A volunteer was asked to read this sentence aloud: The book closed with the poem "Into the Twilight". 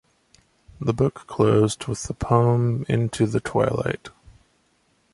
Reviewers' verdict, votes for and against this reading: accepted, 2, 0